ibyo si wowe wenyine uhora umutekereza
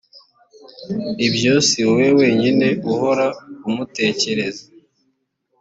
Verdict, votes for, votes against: accepted, 2, 0